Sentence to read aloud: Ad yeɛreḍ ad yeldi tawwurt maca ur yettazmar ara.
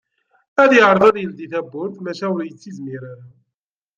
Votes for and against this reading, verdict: 1, 2, rejected